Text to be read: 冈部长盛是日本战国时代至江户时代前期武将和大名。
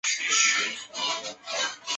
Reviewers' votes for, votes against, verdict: 0, 4, rejected